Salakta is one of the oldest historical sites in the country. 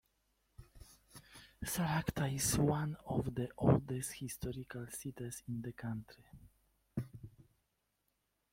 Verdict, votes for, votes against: rejected, 0, 2